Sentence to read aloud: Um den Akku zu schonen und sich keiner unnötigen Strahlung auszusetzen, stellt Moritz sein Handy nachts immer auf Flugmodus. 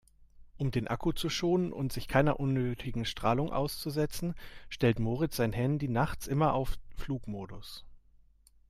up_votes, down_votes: 1, 2